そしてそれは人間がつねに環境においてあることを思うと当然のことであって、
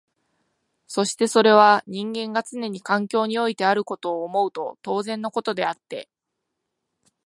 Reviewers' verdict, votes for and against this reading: accepted, 2, 0